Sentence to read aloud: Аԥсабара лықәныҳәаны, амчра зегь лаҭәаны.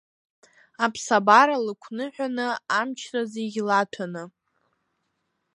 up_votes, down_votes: 1, 2